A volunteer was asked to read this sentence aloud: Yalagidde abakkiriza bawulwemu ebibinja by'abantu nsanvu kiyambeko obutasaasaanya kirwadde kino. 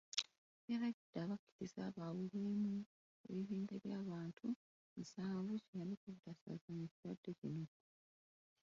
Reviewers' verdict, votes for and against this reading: rejected, 0, 2